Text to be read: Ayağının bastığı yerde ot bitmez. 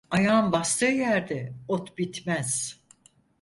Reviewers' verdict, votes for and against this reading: rejected, 0, 4